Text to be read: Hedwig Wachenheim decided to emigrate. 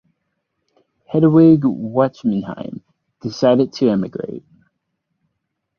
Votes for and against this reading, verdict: 2, 4, rejected